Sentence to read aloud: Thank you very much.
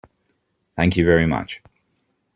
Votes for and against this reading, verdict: 2, 0, accepted